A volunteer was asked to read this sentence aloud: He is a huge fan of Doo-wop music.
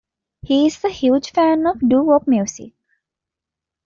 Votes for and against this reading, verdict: 2, 0, accepted